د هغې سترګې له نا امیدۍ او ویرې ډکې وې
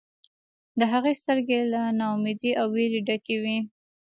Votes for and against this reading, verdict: 2, 0, accepted